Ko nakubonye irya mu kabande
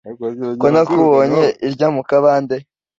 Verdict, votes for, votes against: accepted, 2, 0